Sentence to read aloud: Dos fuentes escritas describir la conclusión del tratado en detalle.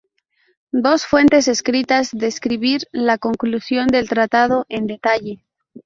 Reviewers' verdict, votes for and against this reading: accepted, 4, 2